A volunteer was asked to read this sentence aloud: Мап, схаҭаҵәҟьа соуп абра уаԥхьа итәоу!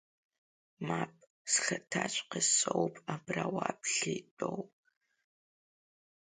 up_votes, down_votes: 2, 1